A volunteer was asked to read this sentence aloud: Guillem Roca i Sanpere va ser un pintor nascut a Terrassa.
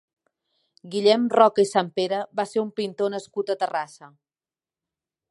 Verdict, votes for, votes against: accepted, 2, 0